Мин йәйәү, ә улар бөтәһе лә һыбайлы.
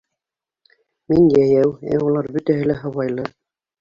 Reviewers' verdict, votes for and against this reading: rejected, 1, 2